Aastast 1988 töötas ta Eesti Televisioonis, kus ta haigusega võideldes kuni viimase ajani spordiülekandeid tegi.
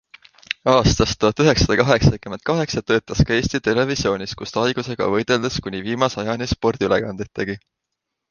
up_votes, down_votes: 0, 2